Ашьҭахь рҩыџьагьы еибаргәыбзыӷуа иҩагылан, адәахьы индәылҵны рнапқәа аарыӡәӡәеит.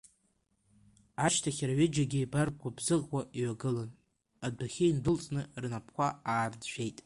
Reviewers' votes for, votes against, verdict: 2, 1, accepted